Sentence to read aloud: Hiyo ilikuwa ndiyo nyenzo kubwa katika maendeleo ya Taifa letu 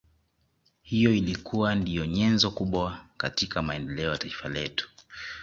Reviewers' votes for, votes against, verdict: 2, 0, accepted